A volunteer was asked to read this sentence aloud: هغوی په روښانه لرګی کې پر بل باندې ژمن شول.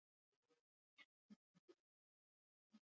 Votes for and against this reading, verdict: 1, 2, rejected